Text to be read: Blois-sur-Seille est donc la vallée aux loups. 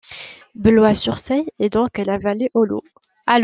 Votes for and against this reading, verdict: 0, 2, rejected